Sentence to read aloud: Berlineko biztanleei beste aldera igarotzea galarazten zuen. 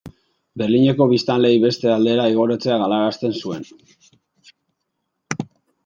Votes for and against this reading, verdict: 0, 2, rejected